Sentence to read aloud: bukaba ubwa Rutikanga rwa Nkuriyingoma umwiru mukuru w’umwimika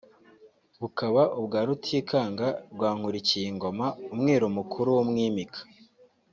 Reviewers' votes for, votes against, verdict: 2, 0, accepted